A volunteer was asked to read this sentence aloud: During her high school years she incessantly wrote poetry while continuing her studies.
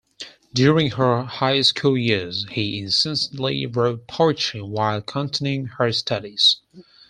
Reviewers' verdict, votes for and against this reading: rejected, 2, 4